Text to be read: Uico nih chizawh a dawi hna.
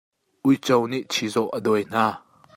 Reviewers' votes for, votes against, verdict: 2, 0, accepted